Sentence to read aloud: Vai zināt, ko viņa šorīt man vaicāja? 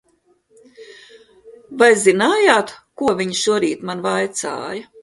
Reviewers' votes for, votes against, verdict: 0, 2, rejected